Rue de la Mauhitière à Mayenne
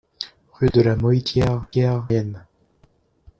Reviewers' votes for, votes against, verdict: 0, 2, rejected